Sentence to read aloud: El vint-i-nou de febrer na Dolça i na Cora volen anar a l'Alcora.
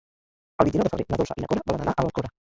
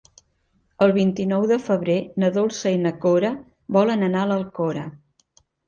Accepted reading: second